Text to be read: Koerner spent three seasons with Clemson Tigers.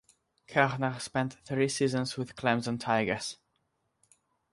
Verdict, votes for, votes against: accepted, 6, 0